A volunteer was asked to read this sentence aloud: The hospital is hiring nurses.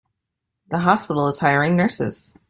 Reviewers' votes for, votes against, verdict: 2, 0, accepted